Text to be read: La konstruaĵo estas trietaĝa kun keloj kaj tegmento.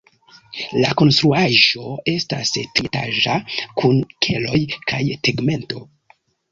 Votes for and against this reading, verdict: 1, 2, rejected